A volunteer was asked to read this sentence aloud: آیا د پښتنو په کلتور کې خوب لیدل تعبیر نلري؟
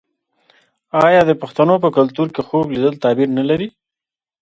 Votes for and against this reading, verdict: 2, 1, accepted